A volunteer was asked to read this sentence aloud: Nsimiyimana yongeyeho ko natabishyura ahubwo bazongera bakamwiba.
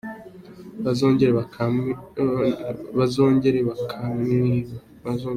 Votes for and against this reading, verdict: 0, 2, rejected